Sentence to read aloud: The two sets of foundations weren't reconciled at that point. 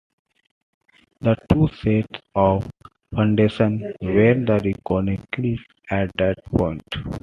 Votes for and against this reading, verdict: 1, 2, rejected